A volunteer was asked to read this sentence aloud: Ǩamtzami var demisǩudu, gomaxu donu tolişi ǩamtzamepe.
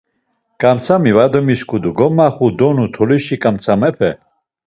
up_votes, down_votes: 2, 0